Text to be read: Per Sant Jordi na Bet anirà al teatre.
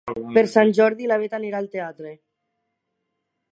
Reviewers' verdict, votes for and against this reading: rejected, 0, 2